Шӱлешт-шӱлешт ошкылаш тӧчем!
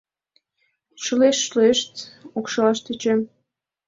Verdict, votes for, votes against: rejected, 1, 2